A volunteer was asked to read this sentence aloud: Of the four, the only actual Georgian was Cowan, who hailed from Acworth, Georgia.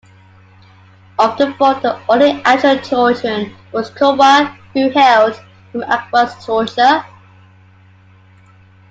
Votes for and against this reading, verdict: 0, 2, rejected